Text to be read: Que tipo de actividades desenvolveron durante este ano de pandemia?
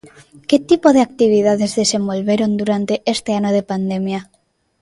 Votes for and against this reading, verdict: 1, 2, rejected